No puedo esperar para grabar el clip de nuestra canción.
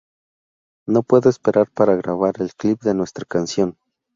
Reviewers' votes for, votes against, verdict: 0, 2, rejected